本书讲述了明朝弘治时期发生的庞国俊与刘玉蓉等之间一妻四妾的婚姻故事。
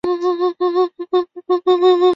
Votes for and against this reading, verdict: 0, 4, rejected